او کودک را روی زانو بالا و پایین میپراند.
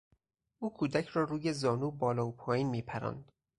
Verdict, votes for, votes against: accepted, 4, 0